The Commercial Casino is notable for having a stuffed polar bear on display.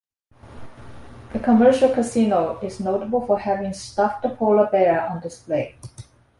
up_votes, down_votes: 0, 2